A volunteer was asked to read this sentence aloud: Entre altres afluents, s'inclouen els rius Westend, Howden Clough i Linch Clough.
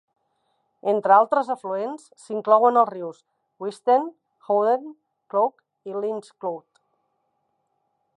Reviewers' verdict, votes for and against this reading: rejected, 0, 2